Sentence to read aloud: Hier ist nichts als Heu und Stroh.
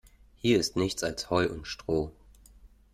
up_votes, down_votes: 2, 0